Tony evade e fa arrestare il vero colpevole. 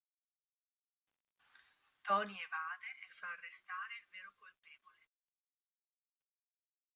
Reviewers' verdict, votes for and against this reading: rejected, 0, 2